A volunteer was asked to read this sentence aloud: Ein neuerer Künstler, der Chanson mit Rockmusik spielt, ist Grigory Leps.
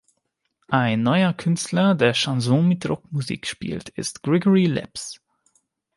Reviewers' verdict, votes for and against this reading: rejected, 1, 2